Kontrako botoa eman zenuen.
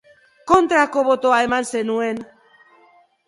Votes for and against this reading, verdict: 0, 2, rejected